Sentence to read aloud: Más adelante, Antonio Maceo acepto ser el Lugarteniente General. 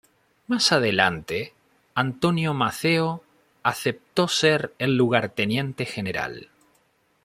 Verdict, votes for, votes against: accepted, 2, 0